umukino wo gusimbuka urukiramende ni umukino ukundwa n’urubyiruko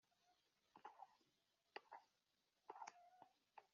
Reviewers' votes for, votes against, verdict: 1, 3, rejected